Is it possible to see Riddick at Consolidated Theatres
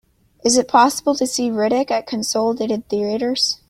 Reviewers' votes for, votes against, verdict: 1, 2, rejected